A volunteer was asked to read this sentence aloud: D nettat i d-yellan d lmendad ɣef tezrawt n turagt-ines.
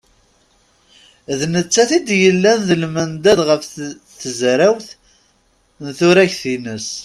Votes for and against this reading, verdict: 0, 2, rejected